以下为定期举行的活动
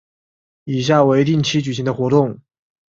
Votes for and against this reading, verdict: 2, 0, accepted